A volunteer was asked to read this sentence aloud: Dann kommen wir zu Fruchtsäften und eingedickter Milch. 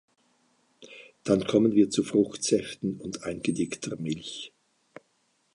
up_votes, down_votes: 2, 0